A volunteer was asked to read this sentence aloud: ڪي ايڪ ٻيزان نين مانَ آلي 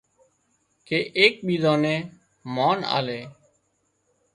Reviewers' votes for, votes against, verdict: 2, 0, accepted